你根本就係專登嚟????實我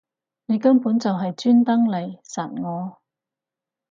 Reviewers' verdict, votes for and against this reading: rejected, 0, 2